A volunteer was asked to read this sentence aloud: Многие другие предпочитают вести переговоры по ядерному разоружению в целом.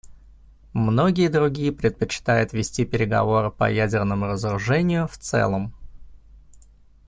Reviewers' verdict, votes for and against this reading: accepted, 2, 0